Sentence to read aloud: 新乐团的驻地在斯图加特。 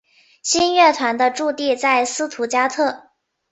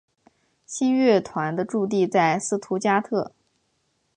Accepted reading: second